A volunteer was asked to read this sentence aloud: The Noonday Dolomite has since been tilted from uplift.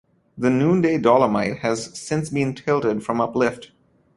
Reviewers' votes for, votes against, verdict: 2, 0, accepted